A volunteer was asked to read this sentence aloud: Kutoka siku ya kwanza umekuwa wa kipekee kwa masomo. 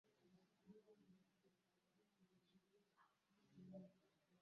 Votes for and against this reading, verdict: 0, 2, rejected